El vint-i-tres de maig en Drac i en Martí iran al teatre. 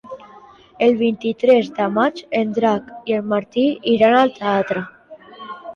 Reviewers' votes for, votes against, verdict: 3, 0, accepted